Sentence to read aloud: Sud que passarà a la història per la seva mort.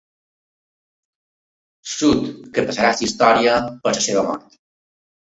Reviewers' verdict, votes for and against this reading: rejected, 1, 2